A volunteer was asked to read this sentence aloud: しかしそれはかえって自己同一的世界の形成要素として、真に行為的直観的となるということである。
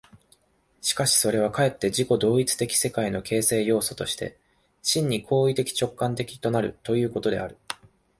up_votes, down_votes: 3, 0